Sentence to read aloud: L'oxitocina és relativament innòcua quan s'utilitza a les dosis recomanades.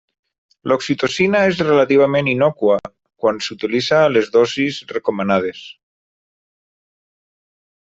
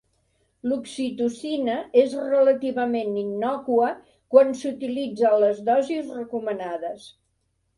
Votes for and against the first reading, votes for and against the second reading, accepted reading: 0, 3, 4, 1, second